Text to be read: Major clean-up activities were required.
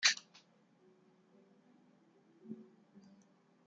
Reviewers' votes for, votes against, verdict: 0, 3, rejected